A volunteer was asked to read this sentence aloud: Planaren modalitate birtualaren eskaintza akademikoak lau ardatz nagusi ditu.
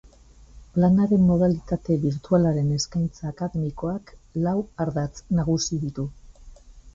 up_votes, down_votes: 3, 0